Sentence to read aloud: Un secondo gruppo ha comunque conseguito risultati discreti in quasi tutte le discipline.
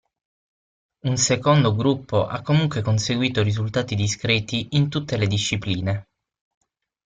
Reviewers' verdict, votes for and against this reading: rejected, 0, 6